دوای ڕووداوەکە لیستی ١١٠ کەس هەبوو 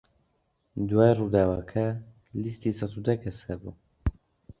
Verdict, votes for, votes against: rejected, 0, 2